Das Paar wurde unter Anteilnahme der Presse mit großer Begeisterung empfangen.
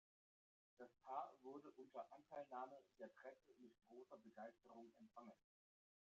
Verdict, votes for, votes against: rejected, 0, 2